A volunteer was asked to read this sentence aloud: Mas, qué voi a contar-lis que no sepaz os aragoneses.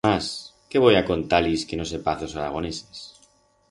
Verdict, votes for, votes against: rejected, 2, 4